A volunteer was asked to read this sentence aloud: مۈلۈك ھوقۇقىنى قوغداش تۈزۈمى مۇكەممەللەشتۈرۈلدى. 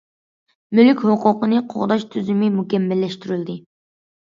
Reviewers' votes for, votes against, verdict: 2, 0, accepted